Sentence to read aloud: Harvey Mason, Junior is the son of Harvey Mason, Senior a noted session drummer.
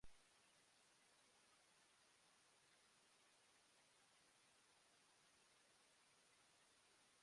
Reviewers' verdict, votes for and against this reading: rejected, 0, 2